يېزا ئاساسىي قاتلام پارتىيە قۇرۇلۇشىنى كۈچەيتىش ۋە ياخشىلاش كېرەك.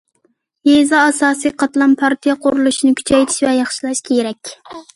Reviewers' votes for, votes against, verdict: 2, 0, accepted